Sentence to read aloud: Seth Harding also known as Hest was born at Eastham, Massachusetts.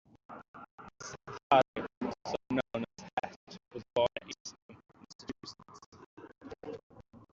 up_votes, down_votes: 0, 2